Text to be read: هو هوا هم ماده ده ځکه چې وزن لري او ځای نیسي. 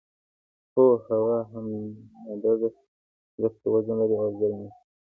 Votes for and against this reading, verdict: 2, 0, accepted